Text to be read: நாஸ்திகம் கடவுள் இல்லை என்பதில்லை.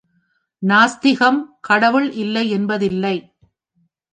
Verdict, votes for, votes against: accepted, 2, 0